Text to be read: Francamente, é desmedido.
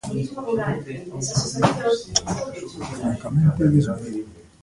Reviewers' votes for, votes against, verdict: 1, 2, rejected